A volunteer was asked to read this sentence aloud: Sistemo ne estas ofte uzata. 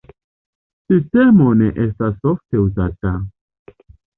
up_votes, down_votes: 2, 0